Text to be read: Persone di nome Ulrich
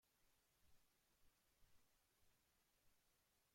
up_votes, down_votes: 0, 2